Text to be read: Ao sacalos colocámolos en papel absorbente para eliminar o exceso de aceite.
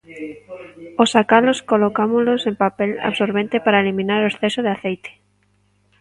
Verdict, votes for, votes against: rejected, 1, 2